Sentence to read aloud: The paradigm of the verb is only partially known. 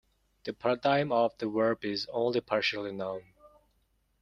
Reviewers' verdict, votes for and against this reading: accepted, 2, 1